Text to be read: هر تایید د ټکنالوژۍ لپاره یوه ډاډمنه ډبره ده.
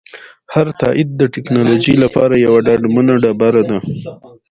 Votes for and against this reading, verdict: 2, 1, accepted